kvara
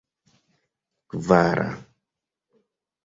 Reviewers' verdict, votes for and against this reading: accepted, 2, 0